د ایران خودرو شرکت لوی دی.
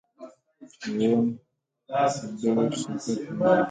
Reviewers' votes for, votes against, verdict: 0, 2, rejected